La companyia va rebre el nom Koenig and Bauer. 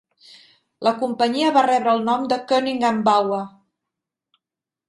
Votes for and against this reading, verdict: 1, 2, rejected